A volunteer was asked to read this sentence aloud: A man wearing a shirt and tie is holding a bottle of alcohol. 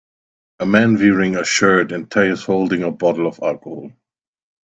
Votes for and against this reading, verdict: 2, 1, accepted